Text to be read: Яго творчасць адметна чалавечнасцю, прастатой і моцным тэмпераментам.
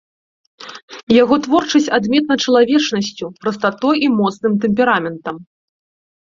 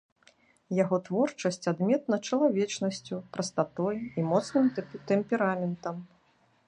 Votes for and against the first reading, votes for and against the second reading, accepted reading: 2, 0, 0, 2, first